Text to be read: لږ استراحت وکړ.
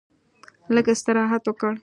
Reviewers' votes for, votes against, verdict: 2, 0, accepted